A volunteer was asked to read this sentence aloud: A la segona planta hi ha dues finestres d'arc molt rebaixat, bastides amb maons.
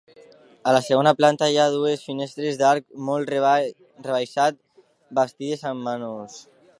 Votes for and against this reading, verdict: 0, 2, rejected